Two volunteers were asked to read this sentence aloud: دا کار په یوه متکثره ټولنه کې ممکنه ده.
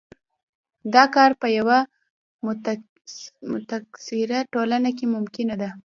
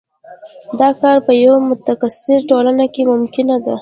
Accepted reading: second